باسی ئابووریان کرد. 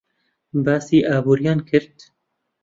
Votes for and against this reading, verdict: 0, 2, rejected